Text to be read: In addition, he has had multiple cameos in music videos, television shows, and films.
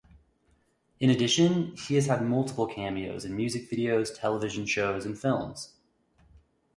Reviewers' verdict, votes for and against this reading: accepted, 2, 0